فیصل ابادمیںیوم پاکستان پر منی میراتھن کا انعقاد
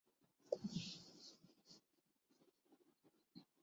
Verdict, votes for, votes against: accepted, 2, 1